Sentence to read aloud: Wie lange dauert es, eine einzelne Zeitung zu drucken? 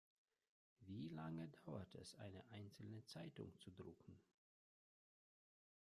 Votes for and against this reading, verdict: 1, 2, rejected